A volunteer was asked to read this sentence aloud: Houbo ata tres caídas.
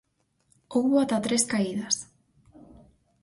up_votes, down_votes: 4, 0